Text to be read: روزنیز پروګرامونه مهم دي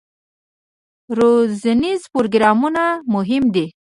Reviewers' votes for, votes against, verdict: 1, 2, rejected